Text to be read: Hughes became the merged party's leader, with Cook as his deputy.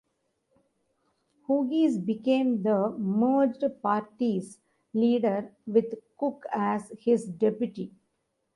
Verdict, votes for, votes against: rejected, 1, 2